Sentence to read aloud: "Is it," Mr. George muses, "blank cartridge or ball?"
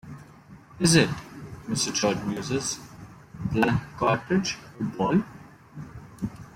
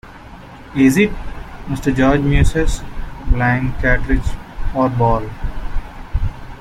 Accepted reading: second